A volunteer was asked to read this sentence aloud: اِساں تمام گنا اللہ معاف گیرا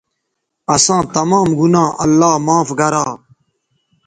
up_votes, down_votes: 1, 2